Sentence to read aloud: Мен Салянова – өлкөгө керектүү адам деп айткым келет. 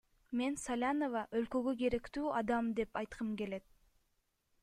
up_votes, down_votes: 2, 1